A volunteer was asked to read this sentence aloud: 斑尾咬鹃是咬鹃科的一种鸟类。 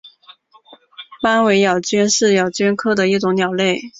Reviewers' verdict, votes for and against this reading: accepted, 2, 0